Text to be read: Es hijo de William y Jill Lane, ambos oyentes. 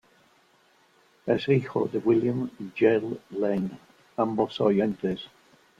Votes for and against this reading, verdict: 2, 0, accepted